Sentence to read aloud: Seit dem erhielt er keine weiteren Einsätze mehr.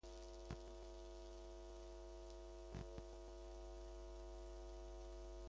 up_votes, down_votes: 0, 2